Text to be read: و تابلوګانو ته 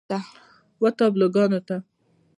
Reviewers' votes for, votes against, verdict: 2, 0, accepted